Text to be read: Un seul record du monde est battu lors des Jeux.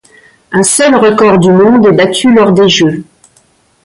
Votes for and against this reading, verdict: 2, 1, accepted